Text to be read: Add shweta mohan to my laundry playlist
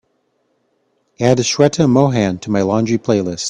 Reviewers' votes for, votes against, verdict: 2, 1, accepted